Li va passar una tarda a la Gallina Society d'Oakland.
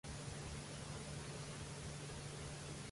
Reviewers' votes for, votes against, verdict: 0, 2, rejected